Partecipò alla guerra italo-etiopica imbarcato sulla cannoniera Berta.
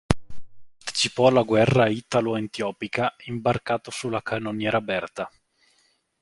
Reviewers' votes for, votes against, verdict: 1, 2, rejected